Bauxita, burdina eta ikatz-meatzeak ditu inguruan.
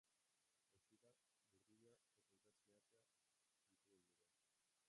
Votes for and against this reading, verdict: 0, 2, rejected